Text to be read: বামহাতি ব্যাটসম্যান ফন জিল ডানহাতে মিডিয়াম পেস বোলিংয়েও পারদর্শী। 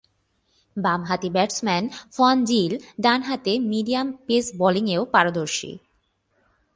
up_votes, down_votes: 8, 0